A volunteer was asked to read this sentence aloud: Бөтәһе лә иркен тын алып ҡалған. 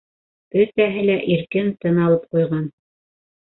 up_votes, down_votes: 1, 2